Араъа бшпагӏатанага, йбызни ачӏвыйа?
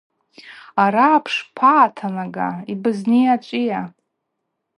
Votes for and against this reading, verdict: 2, 0, accepted